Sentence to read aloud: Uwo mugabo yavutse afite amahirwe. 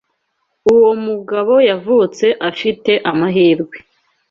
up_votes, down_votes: 2, 0